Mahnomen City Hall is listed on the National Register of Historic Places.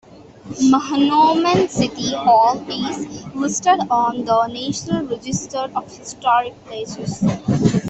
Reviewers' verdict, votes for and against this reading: rejected, 1, 2